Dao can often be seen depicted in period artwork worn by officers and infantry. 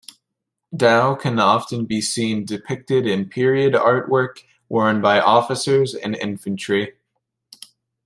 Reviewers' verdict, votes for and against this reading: accepted, 2, 0